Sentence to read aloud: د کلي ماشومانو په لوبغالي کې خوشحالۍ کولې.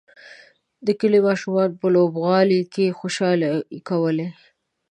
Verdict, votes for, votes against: rejected, 1, 2